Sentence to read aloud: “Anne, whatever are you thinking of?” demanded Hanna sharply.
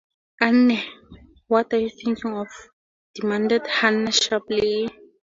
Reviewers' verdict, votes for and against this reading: rejected, 0, 4